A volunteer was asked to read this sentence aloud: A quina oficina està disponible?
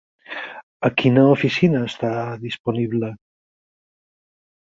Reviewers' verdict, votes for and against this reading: accepted, 6, 0